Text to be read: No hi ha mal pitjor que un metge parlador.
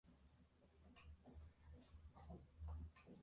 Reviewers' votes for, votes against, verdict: 0, 2, rejected